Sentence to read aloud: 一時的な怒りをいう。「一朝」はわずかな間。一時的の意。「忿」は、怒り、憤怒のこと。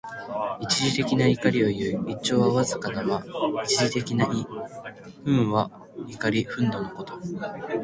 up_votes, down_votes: 1, 2